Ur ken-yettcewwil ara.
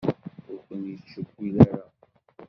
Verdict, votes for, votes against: rejected, 0, 2